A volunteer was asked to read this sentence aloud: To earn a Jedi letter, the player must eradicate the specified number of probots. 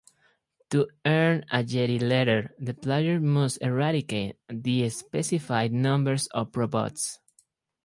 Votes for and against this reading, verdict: 4, 2, accepted